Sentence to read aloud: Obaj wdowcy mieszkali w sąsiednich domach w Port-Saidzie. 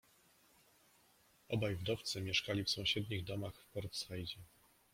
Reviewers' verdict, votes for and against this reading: accepted, 2, 1